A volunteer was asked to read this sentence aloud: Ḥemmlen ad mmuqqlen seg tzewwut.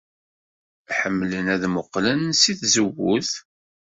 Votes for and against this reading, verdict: 2, 0, accepted